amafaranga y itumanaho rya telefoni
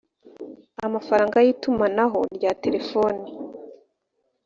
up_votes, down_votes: 2, 0